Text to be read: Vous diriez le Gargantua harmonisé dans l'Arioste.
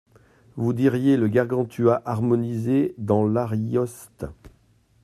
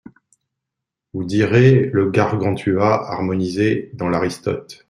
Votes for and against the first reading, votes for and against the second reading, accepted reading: 2, 0, 0, 2, first